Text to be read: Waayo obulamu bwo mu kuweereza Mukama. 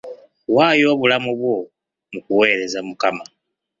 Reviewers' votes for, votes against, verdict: 2, 0, accepted